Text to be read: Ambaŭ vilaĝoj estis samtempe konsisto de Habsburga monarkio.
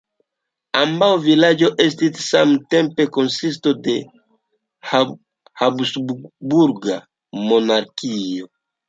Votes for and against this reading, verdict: 1, 2, rejected